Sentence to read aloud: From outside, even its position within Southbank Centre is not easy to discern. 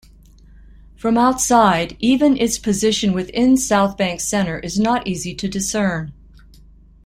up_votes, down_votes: 2, 0